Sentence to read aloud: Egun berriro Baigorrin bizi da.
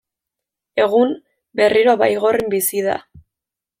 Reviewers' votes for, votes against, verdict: 0, 2, rejected